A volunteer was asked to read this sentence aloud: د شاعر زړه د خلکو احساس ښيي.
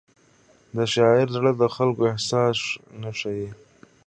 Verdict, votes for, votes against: rejected, 1, 2